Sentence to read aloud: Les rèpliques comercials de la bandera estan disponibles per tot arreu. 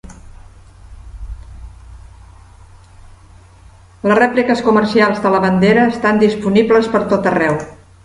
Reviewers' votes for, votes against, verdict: 1, 2, rejected